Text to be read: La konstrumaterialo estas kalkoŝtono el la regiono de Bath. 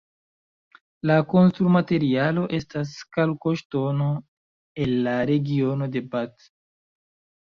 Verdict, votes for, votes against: rejected, 1, 2